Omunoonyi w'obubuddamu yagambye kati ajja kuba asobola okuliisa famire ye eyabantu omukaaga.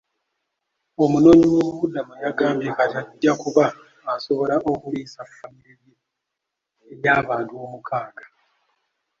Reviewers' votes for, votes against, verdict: 0, 2, rejected